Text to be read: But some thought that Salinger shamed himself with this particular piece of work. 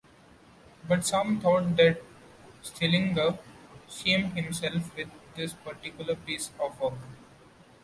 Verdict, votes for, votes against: rejected, 1, 2